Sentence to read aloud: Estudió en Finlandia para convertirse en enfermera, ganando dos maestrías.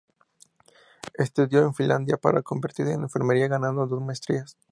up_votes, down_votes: 0, 2